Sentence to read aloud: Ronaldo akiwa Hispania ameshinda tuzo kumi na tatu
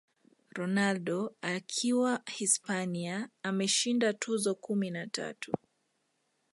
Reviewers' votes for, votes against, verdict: 0, 2, rejected